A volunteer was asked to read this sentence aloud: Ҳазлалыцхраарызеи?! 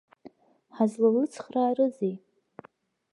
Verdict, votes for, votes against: accepted, 2, 0